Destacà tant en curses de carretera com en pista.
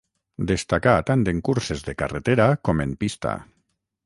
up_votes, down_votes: 9, 0